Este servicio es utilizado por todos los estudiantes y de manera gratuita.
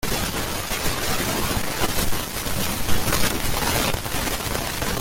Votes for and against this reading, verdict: 0, 2, rejected